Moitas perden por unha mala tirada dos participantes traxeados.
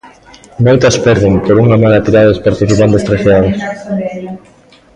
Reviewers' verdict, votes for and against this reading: rejected, 0, 2